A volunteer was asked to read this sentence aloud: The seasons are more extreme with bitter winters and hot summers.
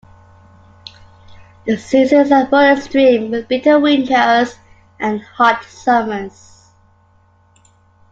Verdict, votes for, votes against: accepted, 3, 2